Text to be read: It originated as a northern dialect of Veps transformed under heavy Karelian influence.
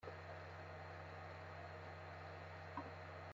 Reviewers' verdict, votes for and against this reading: rejected, 0, 2